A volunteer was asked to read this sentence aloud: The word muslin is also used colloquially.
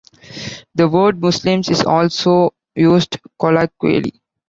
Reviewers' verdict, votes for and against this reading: rejected, 1, 2